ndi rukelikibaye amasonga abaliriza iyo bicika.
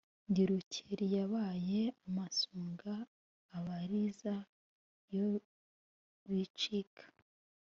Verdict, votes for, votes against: accepted, 3, 0